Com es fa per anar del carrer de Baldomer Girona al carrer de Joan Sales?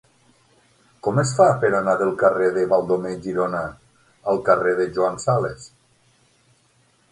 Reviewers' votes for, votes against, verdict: 6, 0, accepted